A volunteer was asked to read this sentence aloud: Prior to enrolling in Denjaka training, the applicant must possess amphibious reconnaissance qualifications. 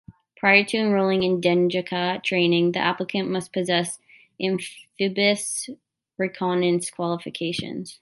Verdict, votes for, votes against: rejected, 0, 2